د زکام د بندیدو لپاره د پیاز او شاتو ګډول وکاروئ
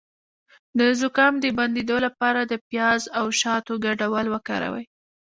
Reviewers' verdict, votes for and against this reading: rejected, 1, 3